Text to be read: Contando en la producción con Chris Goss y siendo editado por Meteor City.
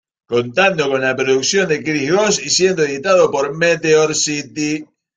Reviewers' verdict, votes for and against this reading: rejected, 1, 2